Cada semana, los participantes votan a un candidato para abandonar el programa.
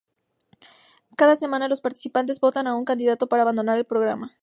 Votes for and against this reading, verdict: 2, 0, accepted